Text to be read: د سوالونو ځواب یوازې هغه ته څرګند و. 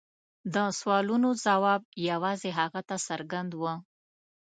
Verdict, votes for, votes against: accepted, 2, 0